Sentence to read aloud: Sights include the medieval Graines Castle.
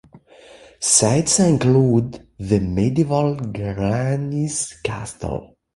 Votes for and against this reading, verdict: 2, 1, accepted